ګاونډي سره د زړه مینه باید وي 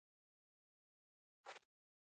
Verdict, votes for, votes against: rejected, 1, 2